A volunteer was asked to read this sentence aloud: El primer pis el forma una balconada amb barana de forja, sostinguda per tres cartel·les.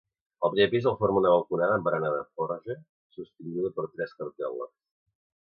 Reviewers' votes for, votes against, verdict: 2, 1, accepted